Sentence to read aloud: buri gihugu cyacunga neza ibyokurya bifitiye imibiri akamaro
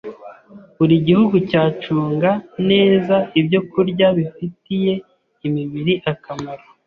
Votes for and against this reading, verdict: 2, 0, accepted